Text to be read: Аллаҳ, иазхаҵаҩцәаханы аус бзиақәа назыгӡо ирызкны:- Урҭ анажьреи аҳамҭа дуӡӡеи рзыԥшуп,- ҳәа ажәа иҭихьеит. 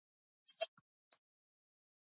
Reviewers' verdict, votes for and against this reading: rejected, 0, 2